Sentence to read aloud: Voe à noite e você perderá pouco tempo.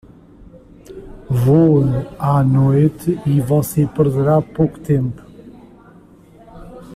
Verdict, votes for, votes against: rejected, 1, 2